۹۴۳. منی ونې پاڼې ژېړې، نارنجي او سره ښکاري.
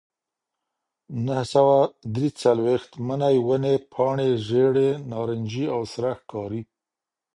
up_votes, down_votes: 0, 2